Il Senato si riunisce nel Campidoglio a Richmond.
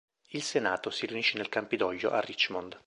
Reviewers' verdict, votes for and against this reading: accepted, 2, 0